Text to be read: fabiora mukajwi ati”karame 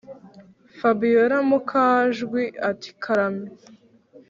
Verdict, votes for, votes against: accepted, 3, 0